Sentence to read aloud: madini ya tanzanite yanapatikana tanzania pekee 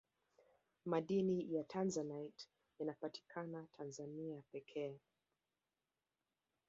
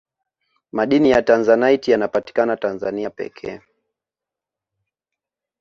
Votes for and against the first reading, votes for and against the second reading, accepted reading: 1, 2, 2, 1, second